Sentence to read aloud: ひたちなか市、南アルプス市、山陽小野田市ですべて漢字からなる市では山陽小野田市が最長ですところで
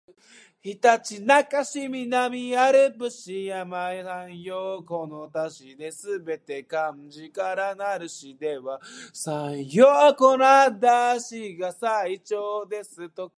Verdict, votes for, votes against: rejected, 1, 2